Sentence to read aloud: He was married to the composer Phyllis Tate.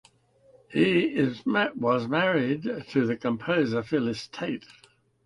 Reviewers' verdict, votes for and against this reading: rejected, 1, 2